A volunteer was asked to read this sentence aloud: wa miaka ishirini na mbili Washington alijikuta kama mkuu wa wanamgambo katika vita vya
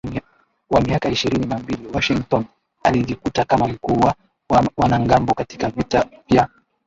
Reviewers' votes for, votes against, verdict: 0, 2, rejected